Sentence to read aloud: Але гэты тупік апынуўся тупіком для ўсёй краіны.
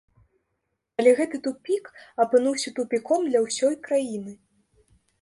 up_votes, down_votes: 2, 0